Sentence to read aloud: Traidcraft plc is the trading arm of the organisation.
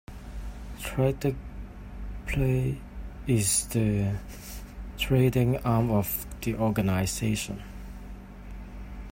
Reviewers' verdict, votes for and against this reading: rejected, 0, 2